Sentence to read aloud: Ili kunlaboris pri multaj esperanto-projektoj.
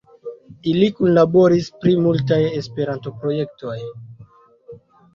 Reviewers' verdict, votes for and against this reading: accepted, 2, 0